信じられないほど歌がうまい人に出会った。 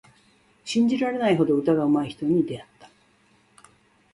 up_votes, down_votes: 2, 0